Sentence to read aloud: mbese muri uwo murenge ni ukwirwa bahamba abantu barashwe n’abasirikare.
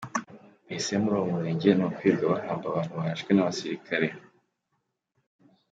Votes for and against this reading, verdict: 2, 0, accepted